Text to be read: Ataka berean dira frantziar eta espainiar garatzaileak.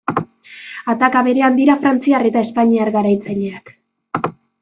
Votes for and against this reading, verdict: 1, 2, rejected